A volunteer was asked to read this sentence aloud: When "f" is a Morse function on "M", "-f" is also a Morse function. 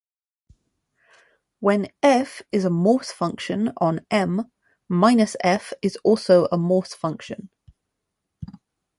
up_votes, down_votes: 2, 0